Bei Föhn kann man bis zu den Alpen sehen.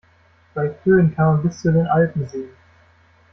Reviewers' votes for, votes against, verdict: 1, 2, rejected